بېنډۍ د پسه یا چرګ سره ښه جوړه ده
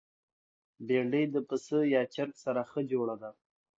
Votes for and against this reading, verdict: 2, 0, accepted